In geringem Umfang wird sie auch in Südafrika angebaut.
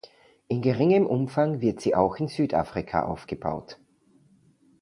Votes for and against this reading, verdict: 0, 2, rejected